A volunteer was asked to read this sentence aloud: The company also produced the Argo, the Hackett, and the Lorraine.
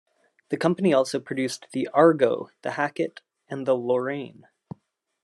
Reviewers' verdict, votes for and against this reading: accepted, 2, 0